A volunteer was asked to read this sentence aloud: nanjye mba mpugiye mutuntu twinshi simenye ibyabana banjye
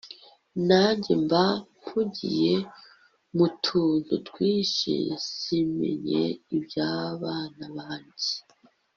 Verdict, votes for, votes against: accepted, 3, 0